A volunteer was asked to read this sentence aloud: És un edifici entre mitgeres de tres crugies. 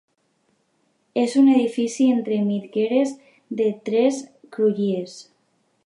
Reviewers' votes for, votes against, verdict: 1, 2, rejected